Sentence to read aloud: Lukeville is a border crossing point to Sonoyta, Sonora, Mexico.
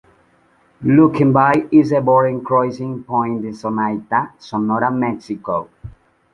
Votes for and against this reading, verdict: 0, 2, rejected